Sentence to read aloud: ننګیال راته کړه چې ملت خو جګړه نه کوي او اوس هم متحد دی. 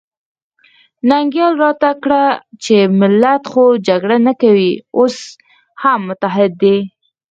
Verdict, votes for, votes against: rejected, 0, 4